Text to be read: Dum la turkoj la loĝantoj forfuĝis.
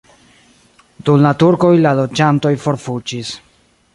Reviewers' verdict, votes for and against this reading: rejected, 0, 2